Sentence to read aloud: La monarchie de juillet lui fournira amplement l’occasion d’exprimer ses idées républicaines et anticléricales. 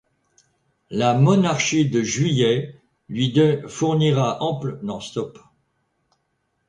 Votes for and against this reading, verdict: 0, 2, rejected